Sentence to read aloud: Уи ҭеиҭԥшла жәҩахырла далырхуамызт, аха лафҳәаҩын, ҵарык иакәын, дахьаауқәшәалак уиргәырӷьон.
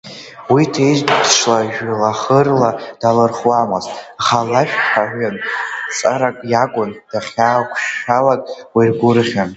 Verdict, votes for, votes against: rejected, 0, 2